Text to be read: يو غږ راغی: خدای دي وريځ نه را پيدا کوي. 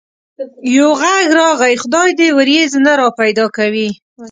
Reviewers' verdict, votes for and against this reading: rejected, 1, 2